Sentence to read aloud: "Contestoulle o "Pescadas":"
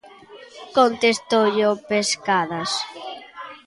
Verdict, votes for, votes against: accepted, 3, 0